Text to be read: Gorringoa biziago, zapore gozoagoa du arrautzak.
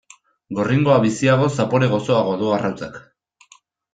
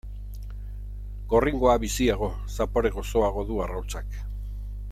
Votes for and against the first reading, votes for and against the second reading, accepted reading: 2, 0, 1, 2, first